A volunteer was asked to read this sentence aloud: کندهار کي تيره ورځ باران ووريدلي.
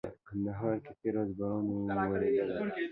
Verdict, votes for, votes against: rejected, 1, 2